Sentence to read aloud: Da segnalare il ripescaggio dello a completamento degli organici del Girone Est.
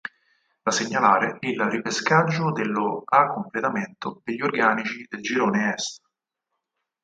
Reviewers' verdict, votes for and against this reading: accepted, 4, 0